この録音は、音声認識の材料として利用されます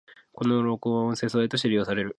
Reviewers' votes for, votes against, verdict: 1, 2, rejected